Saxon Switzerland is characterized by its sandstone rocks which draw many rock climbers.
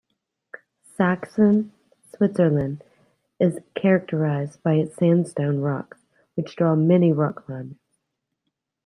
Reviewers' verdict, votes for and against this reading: accepted, 2, 0